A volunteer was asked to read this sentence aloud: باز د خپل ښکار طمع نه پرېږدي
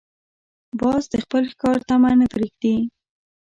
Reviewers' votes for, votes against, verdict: 2, 0, accepted